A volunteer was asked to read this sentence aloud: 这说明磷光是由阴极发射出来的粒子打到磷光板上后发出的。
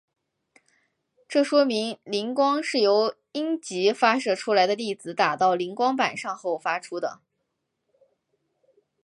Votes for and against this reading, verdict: 4, 0, accepted